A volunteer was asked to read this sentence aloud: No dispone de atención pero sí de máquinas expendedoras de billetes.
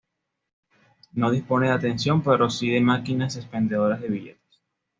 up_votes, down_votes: 2, 0